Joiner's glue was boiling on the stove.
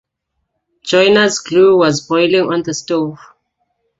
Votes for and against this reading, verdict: 2, 1, accepted